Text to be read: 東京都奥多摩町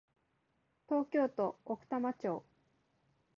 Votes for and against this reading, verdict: 0, 2, rejected